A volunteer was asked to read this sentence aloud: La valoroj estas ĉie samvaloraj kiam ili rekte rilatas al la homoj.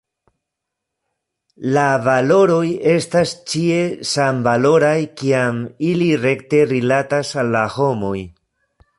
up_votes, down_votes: 2, 1